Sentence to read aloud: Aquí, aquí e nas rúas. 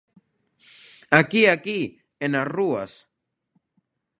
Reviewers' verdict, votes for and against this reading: accepted, 2, 0